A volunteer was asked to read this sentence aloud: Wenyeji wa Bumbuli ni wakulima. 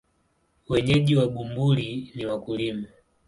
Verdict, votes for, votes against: accepted, 10, 1